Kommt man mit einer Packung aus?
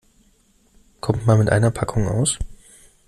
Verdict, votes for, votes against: accepted, 2, 0